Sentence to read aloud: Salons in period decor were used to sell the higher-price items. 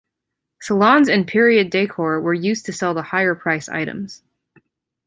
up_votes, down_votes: 2, 0